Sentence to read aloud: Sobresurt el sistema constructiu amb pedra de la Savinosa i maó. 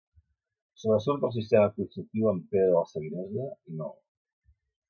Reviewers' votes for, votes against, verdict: 1, 3, rejected